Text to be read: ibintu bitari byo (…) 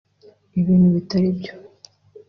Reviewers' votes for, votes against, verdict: 2, 0, accepted